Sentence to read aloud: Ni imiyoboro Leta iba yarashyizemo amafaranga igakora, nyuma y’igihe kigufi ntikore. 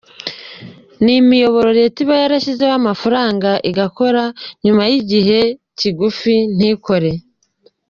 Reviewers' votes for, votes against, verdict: 2, 1, accepted